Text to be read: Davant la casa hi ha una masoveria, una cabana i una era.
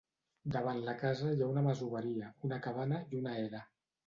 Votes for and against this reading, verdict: 2, 0, accepted